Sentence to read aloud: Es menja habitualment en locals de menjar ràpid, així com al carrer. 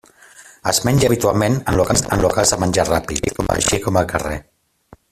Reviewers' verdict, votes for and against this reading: rejected, 0, 2